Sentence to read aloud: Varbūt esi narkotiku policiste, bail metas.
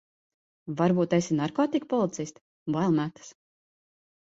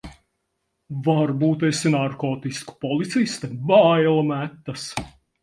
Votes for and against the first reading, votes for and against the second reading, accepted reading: 2, 0, 0, 4, first